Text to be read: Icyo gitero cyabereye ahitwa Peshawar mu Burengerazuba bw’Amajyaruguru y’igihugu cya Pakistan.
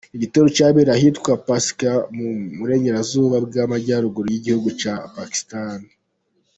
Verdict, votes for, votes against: rejected, 0, 2